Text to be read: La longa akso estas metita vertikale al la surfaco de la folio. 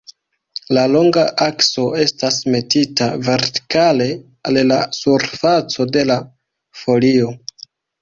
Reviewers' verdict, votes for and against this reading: accepted, 2, 1